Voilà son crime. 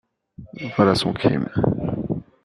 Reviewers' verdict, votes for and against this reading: rejected, 0, 2